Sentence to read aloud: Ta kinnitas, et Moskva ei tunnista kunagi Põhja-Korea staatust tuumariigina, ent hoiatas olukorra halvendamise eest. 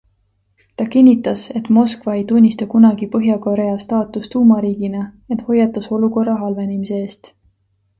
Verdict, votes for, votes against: accepted, 2, 0